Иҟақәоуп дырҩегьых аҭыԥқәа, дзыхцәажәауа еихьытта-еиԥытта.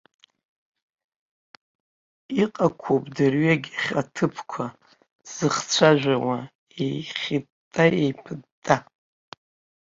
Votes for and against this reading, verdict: 3, 1, accepted